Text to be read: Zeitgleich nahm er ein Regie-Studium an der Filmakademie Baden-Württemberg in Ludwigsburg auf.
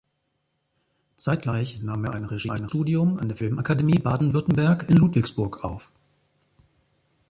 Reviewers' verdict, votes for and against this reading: rejected, 0, 2